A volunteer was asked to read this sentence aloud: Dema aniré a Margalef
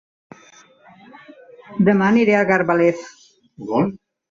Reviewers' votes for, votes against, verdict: 0, 2, rejected